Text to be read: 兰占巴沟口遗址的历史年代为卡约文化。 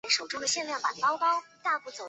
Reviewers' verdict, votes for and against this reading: rejected, 1, 2